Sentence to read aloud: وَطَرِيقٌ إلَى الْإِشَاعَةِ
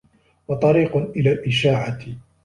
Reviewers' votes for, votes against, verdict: 2, 0, accepted